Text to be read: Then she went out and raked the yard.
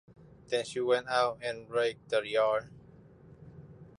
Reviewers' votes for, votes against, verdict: 2, 0, accepted